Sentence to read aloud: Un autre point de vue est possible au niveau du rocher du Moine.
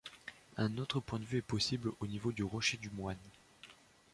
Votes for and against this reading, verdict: 2, 0, accepted